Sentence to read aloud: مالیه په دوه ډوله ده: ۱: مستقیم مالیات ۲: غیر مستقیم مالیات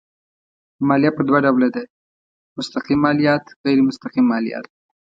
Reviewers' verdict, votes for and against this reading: rejected, 0, 2